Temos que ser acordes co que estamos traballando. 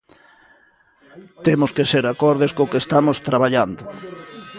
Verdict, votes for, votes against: rejected, 1, 2